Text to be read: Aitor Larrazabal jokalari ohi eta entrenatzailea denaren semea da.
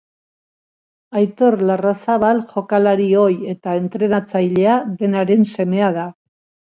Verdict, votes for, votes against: accepted, 2, 0